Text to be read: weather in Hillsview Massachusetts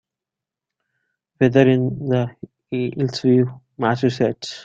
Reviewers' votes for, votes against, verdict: 0, 3, rejected